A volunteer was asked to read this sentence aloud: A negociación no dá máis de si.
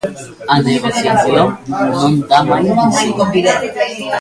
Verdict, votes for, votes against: rejected, 0, 2